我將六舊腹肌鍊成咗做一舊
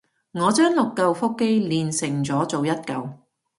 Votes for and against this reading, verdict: 2, 0, accepted